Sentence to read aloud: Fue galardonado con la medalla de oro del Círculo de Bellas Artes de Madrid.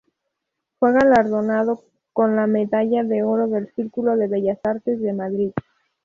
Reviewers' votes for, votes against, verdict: 2, 0, accepted